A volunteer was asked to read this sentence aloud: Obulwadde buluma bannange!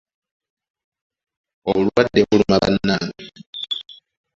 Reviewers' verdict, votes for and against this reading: accepted, 2, 0